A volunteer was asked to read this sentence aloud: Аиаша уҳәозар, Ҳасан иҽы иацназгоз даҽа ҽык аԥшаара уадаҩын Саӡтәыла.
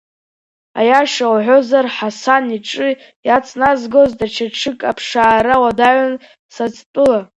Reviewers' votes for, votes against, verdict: 2, 0, accepted